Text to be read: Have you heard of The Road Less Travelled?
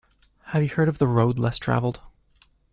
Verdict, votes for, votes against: accepted, 2, 0